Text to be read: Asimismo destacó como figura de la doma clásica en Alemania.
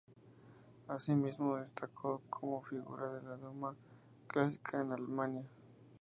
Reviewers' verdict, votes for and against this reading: rejected, 0, 2